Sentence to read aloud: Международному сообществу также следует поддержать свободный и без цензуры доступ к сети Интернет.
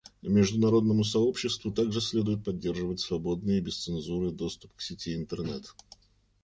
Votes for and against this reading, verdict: 2, 0, accepted